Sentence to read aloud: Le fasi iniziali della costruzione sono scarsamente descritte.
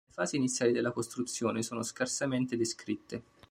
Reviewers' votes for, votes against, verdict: 1, 2, rejected